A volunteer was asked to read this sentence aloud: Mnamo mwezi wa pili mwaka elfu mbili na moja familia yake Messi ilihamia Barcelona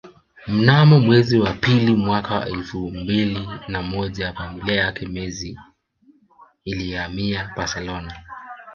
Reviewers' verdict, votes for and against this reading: rejected, 1, 2